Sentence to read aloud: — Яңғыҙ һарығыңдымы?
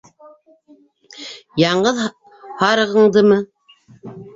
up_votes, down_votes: 0, 2